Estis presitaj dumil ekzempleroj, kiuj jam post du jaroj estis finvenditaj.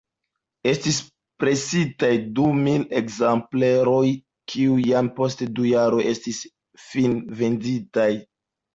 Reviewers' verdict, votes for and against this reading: accepted, 2, 1